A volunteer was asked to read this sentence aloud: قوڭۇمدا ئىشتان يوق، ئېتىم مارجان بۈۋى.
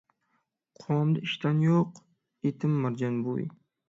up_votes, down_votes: 6, 3